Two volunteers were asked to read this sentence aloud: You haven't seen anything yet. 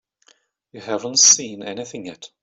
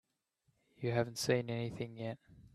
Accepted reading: first